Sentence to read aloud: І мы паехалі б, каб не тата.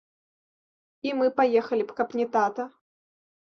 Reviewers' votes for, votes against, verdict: 2, 0, accepted